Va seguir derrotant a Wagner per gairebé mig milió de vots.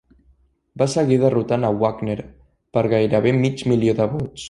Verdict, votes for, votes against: rejected, 1, 2